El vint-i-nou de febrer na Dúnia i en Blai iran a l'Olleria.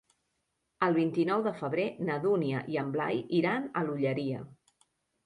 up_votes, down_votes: 3, 0